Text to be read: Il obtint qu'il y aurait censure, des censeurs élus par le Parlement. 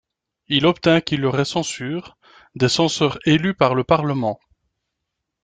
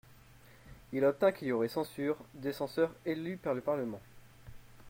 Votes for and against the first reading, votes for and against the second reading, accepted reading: 1, 2, 2, 0, second